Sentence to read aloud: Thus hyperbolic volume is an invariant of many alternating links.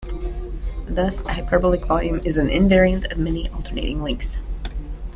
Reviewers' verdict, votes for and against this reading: accepted, 2, 0